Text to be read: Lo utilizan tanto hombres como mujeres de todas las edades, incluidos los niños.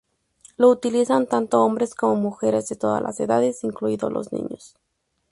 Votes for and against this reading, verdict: 2, 0, accepted